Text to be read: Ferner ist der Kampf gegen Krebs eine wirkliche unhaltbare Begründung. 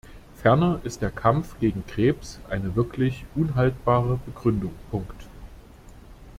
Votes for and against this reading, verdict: 0, 2, rejected